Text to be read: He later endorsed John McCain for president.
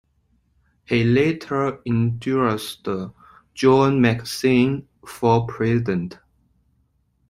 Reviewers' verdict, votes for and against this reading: rejected, 0, 2